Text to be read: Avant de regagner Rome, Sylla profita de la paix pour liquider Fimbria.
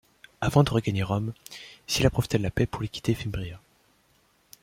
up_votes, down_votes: 2, 0